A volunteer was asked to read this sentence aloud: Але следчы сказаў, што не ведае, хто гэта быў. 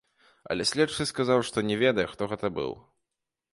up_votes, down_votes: 2, 0